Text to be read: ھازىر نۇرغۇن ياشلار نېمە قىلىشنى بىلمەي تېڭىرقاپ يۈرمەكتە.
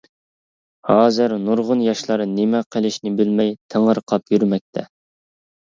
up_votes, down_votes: 2, 0